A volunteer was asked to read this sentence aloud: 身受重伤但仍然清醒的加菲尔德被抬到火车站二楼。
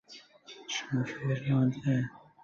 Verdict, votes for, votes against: rejected, 0, 3